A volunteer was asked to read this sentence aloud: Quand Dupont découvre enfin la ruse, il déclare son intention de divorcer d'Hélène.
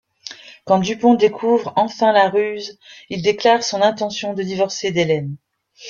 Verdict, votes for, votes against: accepted, 3, 0